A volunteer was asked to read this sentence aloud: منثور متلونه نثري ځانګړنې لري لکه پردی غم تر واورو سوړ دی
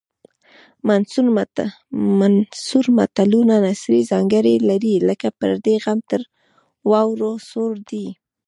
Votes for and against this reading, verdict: 2, 0, accepted